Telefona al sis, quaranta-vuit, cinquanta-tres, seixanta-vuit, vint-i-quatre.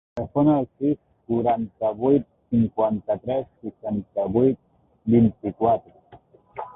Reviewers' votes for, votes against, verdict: 0, 2, rejected